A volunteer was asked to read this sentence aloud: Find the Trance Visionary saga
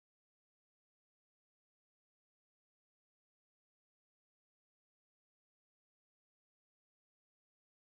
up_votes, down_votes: 0, 2